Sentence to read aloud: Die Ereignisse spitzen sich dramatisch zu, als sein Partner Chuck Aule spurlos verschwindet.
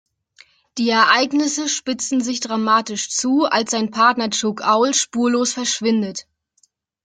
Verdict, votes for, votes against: rejected, 1, 2